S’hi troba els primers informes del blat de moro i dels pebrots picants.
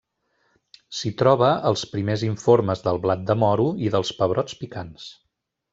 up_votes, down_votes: 3, 0